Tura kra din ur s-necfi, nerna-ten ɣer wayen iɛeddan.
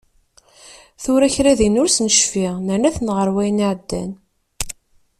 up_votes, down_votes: 2, 0